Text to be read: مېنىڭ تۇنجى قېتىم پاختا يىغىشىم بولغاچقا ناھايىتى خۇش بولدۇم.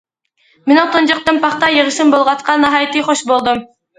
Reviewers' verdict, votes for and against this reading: accepted, 2, 0